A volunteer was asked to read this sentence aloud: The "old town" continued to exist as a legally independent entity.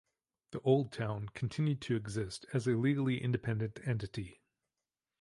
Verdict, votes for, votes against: accepted, 2, 0